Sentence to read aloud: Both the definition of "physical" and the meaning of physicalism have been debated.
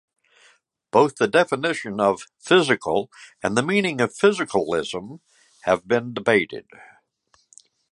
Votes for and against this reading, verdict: 2, 1, accepted